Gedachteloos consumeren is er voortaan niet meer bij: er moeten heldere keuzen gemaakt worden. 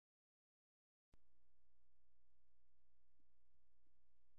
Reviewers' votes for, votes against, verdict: 0, 2, rejected